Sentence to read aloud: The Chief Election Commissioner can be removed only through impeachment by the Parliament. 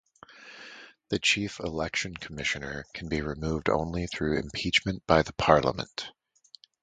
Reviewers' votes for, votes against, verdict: 2, 2, rejected